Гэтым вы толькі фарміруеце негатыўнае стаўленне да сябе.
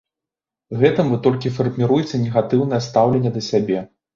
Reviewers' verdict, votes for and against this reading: accepted, 2, 0